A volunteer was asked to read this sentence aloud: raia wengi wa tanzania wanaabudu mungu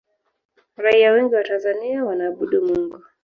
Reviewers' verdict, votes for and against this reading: accepted, 2, 0